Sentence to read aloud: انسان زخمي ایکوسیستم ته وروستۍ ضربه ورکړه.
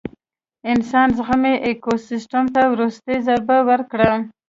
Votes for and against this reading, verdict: 2, 0, accepted